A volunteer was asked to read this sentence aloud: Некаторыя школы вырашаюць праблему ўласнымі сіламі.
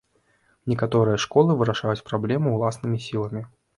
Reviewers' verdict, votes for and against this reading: accepted, 3, 0